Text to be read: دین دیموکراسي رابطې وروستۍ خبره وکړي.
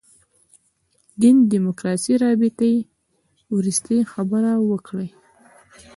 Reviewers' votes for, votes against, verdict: 2, 0, accepted